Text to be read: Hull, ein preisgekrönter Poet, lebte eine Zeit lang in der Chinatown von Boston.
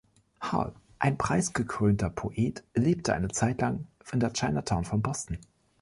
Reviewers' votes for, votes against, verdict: 1, 2, rejected